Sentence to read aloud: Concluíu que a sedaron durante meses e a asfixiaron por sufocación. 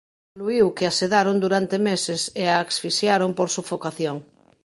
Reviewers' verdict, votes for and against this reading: rejected, 1, 2